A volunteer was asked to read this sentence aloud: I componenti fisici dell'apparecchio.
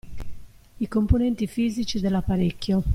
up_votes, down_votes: 2, 0